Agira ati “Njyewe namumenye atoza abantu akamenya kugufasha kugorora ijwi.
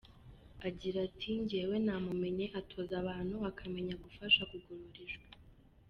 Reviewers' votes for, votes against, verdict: 2, 0, accepted